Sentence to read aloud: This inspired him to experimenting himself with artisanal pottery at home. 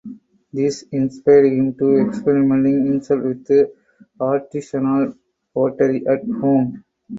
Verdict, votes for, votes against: rejected, 2, 4